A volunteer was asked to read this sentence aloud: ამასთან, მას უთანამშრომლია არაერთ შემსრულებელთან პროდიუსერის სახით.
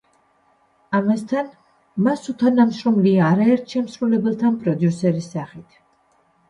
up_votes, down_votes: 2, 0